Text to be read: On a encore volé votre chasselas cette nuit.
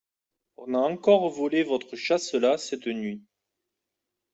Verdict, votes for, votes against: accepted, 2, 0